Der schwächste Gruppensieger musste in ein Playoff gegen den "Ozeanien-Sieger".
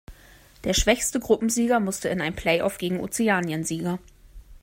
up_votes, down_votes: 0, 2